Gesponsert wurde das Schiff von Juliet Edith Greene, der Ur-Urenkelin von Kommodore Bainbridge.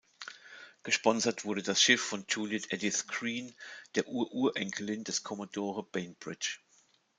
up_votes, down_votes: 0, 2